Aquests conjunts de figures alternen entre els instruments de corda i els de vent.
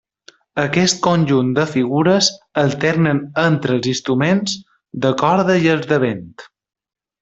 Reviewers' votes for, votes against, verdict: 1, 2, rejected